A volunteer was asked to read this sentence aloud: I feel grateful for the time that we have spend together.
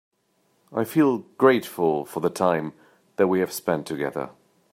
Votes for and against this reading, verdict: 1, 2, rejected